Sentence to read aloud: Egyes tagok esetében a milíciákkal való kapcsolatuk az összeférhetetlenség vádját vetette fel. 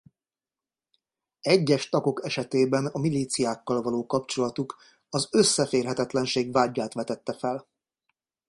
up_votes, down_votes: 2, 0